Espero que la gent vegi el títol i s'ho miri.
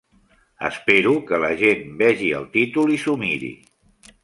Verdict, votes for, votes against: accepted, 2, 0